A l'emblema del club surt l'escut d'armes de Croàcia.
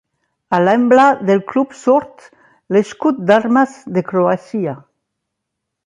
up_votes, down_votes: 0, 2